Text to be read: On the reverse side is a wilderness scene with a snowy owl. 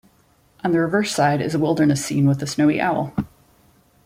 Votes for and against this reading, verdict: 2, 0, accepted